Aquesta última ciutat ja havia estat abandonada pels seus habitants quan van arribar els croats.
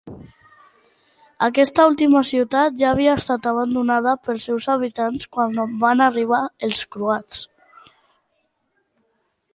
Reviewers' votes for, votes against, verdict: 2, 1, accepted